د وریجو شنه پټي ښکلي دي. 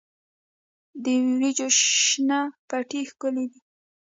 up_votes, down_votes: 2, 0